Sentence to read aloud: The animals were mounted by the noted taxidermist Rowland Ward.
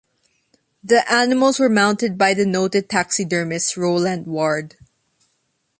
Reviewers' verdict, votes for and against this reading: accepted, 2, 0